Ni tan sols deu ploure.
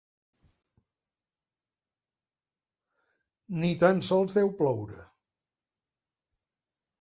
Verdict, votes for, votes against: accepted, 3, 0